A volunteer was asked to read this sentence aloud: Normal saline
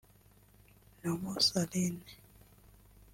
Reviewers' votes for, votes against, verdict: 0, 2, rejected